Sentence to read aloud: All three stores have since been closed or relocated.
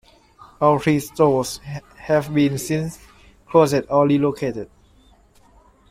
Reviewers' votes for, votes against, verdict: 0, 2, rejected